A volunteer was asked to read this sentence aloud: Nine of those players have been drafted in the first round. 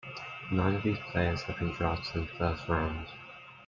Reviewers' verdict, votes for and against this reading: rejected, 0, 2